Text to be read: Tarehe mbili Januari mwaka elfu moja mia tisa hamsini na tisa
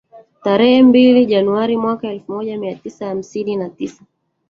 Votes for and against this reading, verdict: 3, 2, accepted